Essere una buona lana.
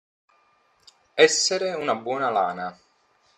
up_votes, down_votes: 2, 0